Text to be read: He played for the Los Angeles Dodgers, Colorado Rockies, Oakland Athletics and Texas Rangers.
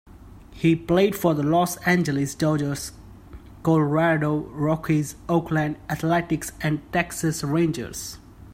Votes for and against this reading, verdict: 2, 0, accepted